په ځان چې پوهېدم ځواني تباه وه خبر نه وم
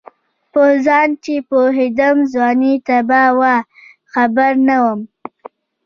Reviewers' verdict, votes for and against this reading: accepted, 2, 0